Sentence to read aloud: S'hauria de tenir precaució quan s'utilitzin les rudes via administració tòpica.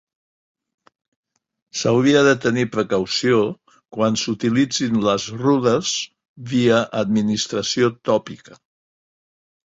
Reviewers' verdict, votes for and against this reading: accepted, 2, 0